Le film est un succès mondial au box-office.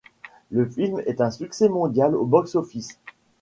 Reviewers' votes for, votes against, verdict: 2, 0, accepted